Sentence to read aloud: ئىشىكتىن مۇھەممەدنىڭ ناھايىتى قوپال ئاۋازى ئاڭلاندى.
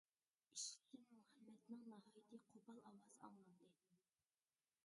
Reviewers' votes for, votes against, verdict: 0, 2, rejected